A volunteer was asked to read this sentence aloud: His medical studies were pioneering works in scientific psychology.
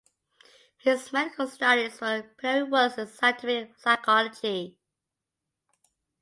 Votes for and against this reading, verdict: 0, 2, rejected